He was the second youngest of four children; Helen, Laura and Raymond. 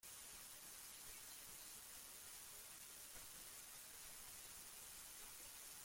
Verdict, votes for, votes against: rejected, 0, 2